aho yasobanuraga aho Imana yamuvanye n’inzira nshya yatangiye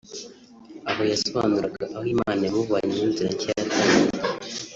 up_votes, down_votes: 2, 3